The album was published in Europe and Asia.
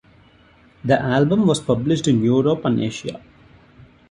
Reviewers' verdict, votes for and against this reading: accepted, 2, 0